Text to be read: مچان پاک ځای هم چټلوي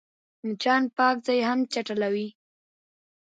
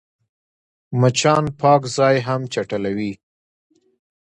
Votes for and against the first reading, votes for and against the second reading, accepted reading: 2, 0, 1, 2, first